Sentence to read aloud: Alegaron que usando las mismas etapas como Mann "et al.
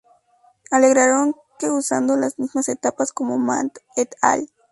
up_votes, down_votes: 0, 2